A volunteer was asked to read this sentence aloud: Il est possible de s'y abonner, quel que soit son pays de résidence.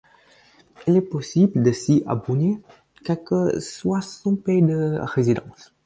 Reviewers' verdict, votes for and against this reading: accepted, 4, 2